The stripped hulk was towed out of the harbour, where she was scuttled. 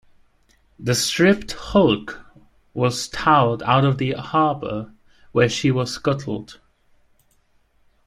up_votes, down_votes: 0, 2